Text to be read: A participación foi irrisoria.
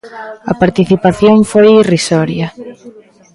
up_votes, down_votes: 2, 0